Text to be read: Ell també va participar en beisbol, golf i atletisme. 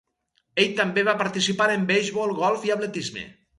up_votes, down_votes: 0, 2